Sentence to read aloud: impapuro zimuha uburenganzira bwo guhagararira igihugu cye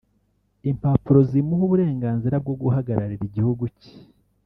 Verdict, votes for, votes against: rejected, 0, 2